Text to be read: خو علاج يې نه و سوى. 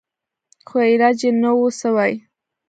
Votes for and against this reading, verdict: 2, 0, accepted